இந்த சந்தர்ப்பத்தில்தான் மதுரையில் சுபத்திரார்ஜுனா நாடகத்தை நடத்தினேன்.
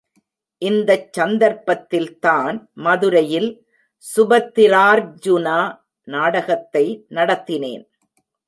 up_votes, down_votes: 2, 1